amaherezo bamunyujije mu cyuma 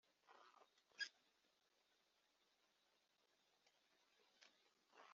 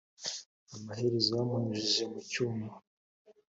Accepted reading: second